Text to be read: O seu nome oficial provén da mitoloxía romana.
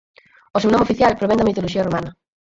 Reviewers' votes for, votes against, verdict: 0, 4, rejected